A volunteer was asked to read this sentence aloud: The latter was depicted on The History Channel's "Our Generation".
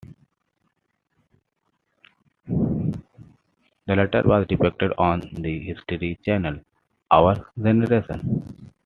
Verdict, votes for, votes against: accepted, 2, 1